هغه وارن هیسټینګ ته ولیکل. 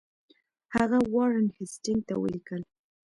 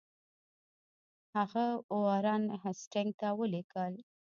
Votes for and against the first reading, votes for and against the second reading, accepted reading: 2, 0, 0, 2, first